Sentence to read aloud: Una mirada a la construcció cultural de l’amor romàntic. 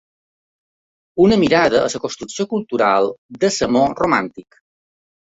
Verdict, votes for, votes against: rejected, 1, 2